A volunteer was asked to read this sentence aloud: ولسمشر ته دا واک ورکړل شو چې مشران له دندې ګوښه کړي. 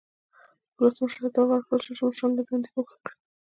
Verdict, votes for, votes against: accepted, 2, 1